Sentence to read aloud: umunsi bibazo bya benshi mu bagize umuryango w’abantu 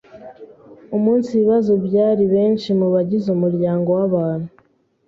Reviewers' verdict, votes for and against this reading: rejected, 0, 2